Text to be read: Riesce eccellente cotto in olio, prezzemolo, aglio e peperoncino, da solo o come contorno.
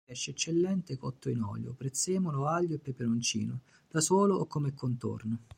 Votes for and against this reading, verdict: 1, 2, rejected